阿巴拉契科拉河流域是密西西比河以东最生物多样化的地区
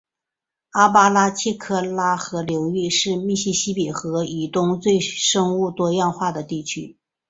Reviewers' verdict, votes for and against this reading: accepted, 3, 0